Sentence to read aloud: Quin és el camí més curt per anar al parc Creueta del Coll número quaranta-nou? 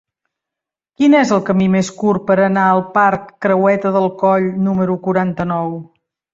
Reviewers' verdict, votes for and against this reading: accepted, 4, 0